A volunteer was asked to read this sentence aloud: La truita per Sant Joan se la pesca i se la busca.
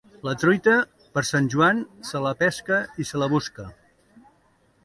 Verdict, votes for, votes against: accepted, 2, 0